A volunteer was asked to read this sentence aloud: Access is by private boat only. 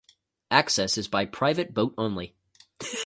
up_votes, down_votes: 0, 2